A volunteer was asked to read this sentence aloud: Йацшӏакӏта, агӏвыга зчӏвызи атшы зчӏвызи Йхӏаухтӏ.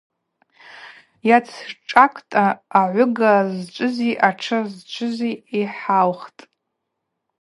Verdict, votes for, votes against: accepted, 4, 0